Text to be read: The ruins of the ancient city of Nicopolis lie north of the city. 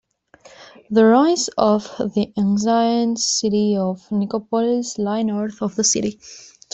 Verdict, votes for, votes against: accepted, 2, 1